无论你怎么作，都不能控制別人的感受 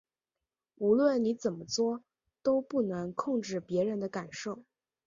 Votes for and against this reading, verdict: 2, 1, accepted